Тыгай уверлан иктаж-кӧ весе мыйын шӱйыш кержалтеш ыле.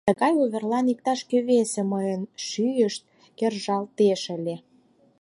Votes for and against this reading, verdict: 4, 0, accepted